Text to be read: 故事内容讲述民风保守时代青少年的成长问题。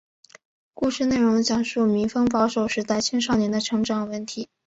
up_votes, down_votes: 4, 0